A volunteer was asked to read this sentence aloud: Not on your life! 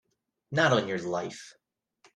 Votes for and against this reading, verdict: 2, 0, accepted